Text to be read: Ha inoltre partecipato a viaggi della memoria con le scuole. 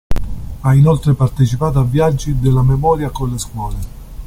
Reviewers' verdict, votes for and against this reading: accepted, 2, 0